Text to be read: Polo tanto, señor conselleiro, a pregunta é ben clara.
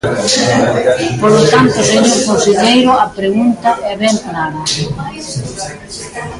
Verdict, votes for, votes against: rejected, 1, 2